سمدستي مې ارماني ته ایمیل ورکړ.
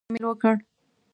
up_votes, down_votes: 0, 2